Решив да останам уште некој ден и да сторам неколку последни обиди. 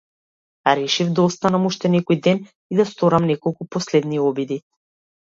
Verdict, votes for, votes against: accepted, 2, 1